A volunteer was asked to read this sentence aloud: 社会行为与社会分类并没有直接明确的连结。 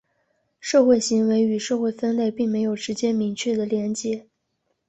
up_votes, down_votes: 2, 0